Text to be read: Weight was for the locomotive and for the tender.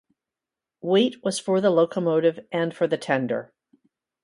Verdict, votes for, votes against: accepted, 2, 0